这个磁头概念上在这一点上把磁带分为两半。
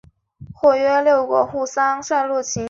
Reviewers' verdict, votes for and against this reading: accepted, 2, 0